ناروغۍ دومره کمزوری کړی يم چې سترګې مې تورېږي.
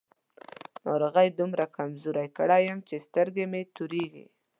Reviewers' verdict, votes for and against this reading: accepted, 2, 0